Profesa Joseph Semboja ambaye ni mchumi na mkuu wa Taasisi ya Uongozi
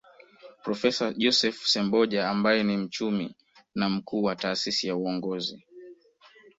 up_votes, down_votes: 1, 2